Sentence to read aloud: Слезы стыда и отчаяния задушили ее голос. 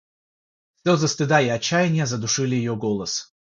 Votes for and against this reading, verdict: 3, 0, accepted